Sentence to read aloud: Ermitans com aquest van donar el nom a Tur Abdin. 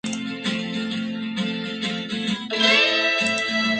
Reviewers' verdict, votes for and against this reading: rejected, 1, 3